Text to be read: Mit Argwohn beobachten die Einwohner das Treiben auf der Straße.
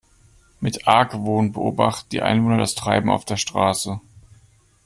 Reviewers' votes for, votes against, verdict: 2, 1, accepted